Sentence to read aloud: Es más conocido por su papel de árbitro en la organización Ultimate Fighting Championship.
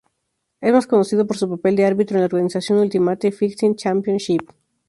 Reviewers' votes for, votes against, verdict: 2, 0, accepted